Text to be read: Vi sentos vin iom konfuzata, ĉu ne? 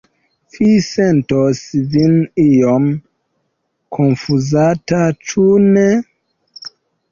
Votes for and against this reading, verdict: 1, 2, rejected